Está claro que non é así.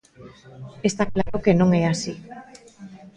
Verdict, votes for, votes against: rejected, 1, 2